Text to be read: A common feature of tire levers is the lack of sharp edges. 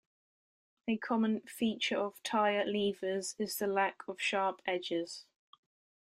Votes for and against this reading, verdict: 2, 0, accepted